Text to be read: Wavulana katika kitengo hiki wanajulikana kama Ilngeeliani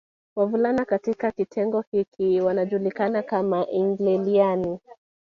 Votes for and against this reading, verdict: 2, 0, accepted